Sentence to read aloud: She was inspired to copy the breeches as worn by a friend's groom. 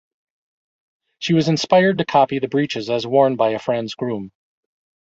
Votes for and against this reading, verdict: 2, 1, accepted